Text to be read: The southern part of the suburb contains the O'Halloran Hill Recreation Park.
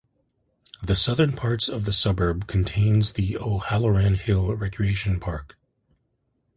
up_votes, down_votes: 0, 2